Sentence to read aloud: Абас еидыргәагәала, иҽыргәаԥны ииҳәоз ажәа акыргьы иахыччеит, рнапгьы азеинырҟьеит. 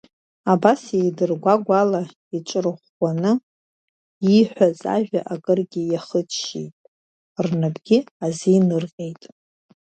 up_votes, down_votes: 1, 2